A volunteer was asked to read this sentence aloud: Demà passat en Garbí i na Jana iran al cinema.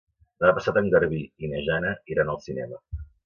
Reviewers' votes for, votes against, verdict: 1, 2, rejected